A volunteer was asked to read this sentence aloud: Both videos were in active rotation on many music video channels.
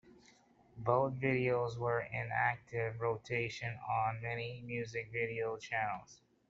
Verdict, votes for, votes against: accepted, 2, 0